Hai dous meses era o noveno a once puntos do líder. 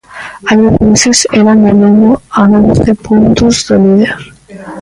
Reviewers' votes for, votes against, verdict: 0, 2, rejected